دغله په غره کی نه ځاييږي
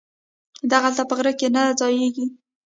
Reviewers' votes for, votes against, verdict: 2, 0, accepted